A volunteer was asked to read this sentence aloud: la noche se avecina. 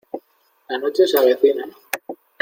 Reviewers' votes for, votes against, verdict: 2, 0, accepted